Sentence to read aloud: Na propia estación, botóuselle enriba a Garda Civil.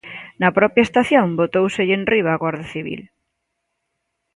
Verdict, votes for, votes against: accepted, 2, 1